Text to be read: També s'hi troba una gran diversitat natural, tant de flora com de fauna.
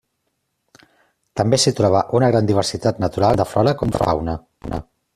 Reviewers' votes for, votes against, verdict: 0, 2, rejected